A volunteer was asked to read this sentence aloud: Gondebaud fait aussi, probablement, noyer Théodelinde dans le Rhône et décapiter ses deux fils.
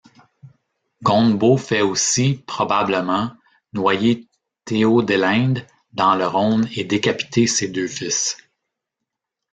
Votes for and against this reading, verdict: 1, 2, rejected